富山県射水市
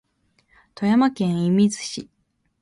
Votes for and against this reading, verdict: 0, 2, rejected